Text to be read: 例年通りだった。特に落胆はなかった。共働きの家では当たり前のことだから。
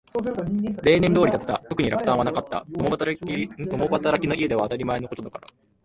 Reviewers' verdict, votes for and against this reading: rejected, 1, 2